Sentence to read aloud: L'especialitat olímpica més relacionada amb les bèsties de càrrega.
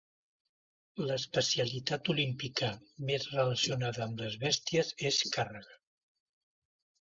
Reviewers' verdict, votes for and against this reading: rejected, 1, 2